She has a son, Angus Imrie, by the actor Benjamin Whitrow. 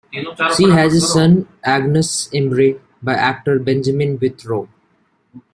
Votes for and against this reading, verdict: 0, 2, rejected